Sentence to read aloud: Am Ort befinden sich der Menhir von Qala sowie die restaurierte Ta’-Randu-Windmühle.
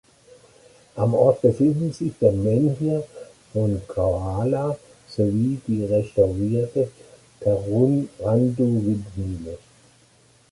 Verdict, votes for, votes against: rejected, 0, 2